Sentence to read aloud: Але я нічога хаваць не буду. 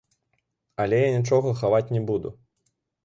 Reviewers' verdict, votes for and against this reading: accepted, 2, 0